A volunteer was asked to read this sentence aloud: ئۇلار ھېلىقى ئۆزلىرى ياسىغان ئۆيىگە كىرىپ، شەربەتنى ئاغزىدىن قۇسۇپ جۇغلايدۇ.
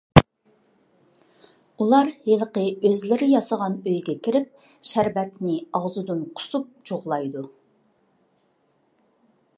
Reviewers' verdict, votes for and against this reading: accepted, 2, 0